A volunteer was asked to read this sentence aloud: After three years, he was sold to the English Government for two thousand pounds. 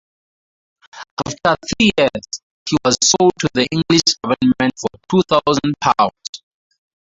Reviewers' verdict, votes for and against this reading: rejected, 0, 4